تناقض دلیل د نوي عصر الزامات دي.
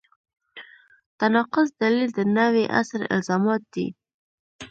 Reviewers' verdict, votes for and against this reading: accepted, 2, 1